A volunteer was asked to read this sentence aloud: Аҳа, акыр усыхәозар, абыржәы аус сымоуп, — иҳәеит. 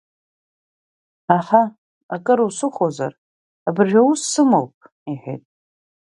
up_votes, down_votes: 2, 0